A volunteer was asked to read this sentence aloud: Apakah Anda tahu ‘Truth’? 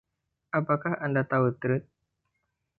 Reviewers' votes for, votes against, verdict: 2, 0, accepted